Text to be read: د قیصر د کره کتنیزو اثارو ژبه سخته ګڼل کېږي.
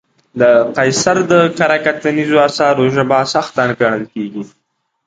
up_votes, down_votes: 2, 1